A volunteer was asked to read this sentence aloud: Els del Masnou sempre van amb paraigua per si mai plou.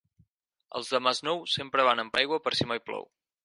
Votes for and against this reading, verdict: 2, 4, rejected